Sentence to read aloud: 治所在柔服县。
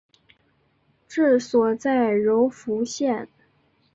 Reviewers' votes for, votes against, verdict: 3, 0, accepted